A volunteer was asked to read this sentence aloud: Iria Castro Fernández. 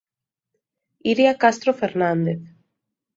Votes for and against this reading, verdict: 2, 0, accepted